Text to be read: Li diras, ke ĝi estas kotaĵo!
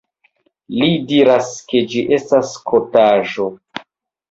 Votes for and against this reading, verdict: 1, 2, rejected